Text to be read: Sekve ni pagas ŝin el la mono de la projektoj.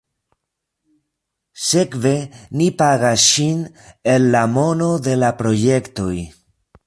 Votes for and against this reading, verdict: 2, 0, accepted